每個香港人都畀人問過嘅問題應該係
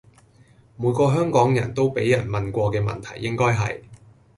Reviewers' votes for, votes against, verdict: 2, 0, accepted